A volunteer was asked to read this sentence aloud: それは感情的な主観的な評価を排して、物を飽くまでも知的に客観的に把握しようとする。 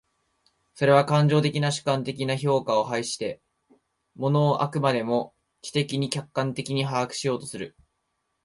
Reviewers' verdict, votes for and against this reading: accepted, 2, 1